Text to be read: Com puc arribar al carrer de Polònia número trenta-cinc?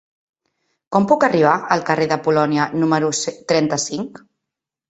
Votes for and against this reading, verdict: 0, 2, rejected